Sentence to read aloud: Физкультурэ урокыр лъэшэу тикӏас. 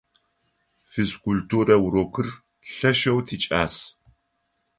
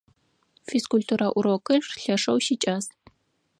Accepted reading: first